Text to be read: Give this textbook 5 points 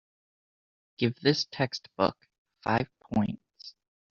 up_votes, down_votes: 0, 2